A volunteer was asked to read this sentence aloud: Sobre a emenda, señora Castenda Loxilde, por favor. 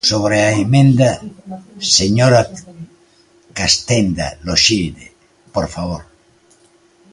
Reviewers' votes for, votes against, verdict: 2, 1, accepted